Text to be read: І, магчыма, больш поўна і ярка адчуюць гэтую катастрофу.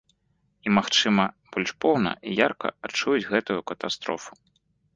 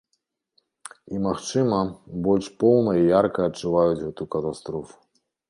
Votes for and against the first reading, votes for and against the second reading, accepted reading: 2, 0, 0, 2, first